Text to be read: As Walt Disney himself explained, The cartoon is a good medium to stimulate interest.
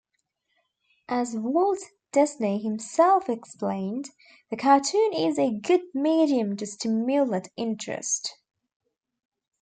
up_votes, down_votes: 2, 1